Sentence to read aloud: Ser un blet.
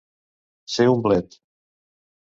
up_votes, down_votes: 2, 0